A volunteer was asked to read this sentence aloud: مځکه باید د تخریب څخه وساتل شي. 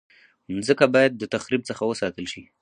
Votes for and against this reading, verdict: 2, 2, rejected